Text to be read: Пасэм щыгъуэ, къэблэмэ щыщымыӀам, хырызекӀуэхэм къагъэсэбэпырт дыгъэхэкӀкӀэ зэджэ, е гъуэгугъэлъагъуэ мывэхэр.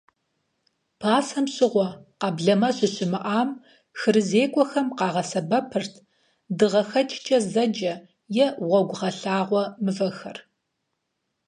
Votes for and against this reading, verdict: 4, 0, accepted